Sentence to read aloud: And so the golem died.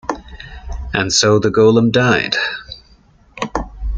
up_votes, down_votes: 2, 0